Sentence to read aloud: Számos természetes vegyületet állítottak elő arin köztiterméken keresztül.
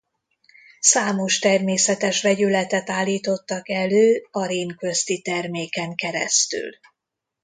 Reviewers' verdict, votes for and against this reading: accepted, 2, 0